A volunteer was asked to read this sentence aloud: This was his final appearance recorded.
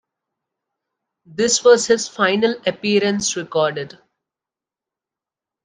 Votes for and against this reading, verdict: 2, 0, accepted